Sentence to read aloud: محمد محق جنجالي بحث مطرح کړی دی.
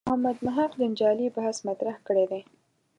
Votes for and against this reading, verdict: 2, 0, accepted